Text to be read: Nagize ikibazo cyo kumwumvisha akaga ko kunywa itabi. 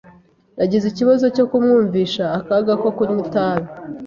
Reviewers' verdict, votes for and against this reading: accepted, 3, 0